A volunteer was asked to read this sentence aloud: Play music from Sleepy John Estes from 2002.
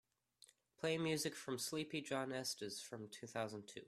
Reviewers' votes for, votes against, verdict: 0, 2, rejected